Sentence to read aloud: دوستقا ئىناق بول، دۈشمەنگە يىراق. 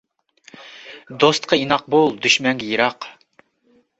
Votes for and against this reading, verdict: 2, 0, accepted